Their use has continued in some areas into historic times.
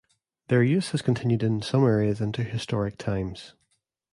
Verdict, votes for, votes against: rejected, 1, 2